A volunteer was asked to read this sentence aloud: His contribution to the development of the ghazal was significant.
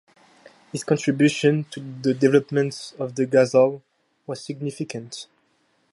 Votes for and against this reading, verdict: 2, 2, rejected